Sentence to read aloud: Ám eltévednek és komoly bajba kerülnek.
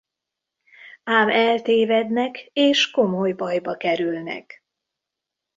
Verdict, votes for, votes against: accepted, 2, 0